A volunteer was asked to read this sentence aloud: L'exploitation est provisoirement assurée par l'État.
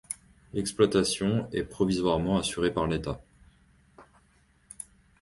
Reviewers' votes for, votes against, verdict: 2, 0, accepted